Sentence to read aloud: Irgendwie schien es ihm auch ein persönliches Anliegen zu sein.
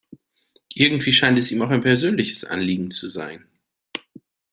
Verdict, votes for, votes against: rejected, 0, 2